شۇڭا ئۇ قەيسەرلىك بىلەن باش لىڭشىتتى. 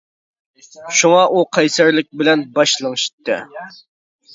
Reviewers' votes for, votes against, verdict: 2, 1, accepted